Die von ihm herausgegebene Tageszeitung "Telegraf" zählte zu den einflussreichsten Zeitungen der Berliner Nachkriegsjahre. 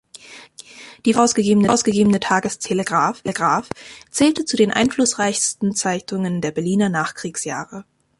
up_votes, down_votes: 0, 2